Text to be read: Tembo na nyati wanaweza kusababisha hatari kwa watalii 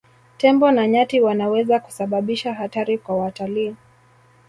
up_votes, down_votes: 2, 0